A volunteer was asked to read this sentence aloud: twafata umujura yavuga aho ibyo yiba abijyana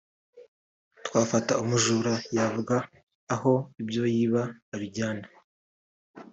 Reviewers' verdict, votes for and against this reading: rejected, 1, 2